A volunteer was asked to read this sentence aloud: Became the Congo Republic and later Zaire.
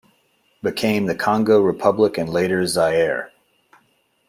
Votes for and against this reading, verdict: 2, 0, accepted